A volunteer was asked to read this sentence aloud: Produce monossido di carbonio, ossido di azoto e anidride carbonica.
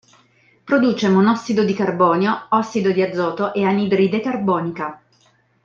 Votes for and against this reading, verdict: 2, 0, accepted